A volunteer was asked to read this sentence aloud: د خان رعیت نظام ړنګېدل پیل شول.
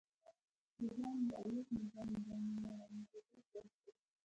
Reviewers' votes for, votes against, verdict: 0, 2, rejected